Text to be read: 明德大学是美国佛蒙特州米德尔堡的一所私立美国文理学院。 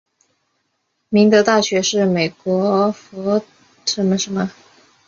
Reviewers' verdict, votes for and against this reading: rejected, 2, 4